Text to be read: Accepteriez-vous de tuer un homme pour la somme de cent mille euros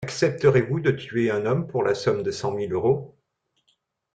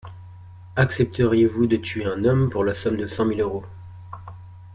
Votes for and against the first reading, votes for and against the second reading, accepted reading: 1, 2, 2, 0, second